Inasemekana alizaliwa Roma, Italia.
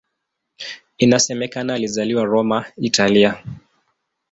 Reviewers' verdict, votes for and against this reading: accepted, 2, 0